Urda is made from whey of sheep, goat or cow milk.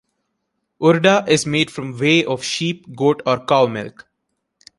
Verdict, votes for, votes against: rejected, 1, 2